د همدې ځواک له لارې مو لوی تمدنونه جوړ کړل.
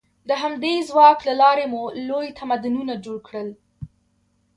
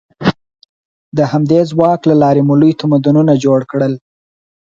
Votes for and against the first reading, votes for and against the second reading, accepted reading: 2, 1, 2, 4, first